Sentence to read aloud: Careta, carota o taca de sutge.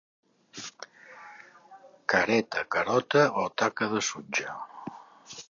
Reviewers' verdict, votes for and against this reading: accepted, 2, 0